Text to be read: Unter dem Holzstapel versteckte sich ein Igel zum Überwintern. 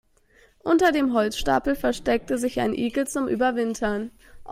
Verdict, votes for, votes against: accepted, 2, 0